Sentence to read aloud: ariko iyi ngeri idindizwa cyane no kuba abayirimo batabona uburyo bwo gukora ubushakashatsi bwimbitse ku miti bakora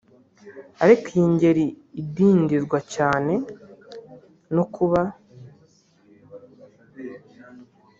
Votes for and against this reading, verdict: 0, 2, rejected